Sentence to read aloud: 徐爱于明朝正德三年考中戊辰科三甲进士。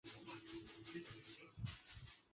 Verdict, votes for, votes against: rejected, 0, 2